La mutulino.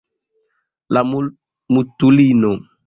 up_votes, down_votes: 1, 2